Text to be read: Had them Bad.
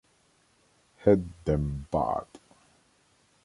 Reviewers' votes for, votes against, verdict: 2, 1, accepted